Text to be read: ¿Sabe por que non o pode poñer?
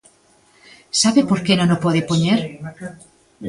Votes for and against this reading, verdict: 2, 1, accepted